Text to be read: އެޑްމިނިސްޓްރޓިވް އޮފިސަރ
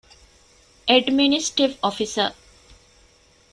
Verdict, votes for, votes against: rejected, 0, 2